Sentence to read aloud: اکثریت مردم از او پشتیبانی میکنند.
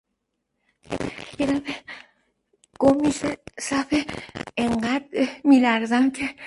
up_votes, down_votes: 0, 2